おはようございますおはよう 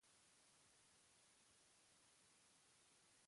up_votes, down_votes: 0, 2